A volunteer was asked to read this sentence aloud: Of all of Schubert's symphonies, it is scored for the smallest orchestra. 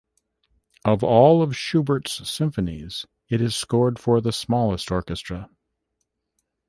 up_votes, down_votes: 1, 2